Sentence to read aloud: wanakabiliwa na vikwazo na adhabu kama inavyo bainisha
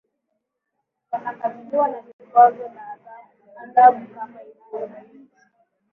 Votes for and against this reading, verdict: 2, 1, accepted